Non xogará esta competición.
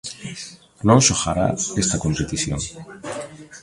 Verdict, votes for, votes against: rejected, 1, 2